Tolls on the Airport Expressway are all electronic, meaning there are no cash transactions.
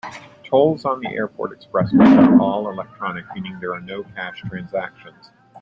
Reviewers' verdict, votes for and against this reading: accepted, 2, 0